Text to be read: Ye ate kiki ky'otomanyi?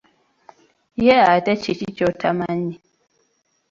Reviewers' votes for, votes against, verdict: 0, 2, rejected